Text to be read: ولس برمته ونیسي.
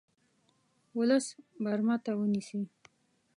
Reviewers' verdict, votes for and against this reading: rejected, 0, 2